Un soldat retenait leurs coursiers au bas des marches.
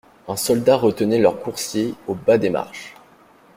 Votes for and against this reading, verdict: 2, 0, accepted